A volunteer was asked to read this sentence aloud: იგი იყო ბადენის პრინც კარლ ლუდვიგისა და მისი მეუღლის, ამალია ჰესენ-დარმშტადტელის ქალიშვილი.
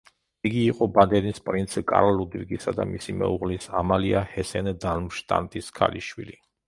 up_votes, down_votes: 0, 2